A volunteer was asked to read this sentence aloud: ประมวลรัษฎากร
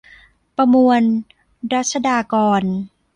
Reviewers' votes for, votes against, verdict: 1, 2, rejected